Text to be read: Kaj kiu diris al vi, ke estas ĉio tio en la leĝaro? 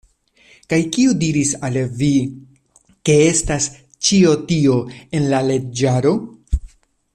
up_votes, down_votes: 0, 2